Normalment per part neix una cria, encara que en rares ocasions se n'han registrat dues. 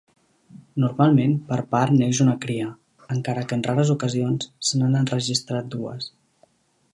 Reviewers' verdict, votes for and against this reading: rejected, 1, 2